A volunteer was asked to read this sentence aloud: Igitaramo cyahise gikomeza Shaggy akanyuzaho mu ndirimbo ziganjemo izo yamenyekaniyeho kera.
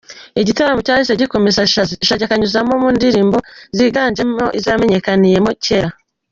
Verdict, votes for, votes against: rejected, 1, 2